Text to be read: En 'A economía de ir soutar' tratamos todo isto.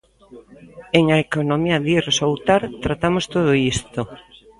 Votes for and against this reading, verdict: 0, 2, rejected